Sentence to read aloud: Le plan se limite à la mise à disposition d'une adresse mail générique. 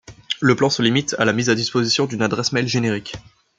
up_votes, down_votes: 2, 0